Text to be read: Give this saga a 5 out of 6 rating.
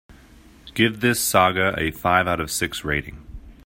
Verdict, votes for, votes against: rejected, 0, 2